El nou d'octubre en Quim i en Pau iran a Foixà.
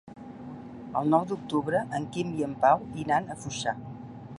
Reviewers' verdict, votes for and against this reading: accepted, 3, 1